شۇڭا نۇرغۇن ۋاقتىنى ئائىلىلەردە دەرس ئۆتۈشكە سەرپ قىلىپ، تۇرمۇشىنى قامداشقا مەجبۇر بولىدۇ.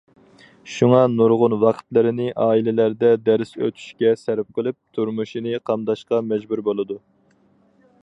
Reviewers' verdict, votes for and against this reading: rejected, 0, 4